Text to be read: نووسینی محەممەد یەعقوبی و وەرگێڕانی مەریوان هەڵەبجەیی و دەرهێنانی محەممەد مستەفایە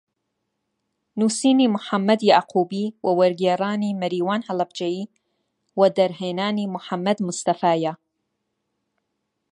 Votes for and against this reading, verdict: 2, 0, accepted